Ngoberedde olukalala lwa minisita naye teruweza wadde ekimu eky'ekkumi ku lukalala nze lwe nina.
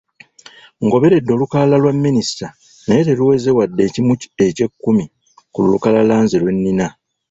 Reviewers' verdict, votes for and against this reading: rejected, 1, 2